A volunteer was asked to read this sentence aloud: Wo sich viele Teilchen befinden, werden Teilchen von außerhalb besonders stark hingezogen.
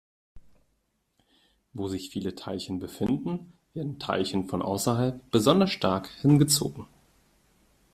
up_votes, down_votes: 2, 0